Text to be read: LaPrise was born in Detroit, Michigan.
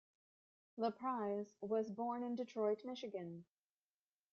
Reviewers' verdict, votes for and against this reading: rejected, 1, 2